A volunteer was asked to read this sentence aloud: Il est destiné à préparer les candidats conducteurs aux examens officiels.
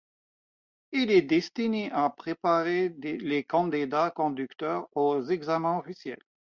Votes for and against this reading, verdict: 0, 2, rejected